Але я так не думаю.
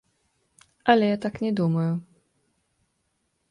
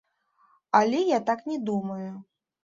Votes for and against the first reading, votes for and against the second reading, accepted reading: 2, 1, 1, 2, first